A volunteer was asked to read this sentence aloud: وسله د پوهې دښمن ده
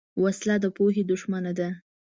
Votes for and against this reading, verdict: 1, 2, rejected